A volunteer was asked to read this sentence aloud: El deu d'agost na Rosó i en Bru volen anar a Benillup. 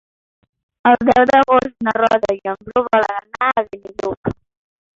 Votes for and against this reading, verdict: 0, 2, rejected